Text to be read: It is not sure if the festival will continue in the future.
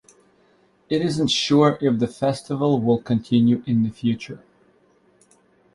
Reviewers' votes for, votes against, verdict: 0, 2, rejected